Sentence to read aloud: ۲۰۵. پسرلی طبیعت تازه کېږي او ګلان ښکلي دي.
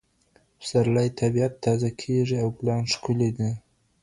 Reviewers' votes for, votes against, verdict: 0, 2, rejected